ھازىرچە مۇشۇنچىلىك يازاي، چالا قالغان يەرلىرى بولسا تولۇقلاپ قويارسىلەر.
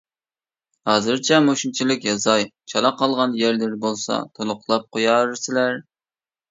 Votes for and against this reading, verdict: 2, 1, accepted